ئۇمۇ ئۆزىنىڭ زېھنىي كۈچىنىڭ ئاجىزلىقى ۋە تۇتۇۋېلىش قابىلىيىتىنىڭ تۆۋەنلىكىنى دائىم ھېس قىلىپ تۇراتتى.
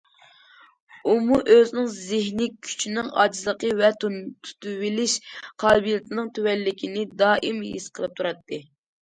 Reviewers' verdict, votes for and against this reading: rejected, 0, 2